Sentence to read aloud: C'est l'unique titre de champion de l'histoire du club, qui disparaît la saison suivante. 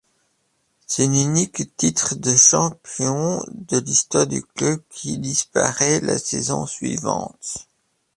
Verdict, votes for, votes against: rejected, 1, 2